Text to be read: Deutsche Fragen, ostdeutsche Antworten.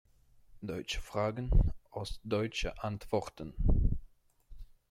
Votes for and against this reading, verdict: 1, 2, rejected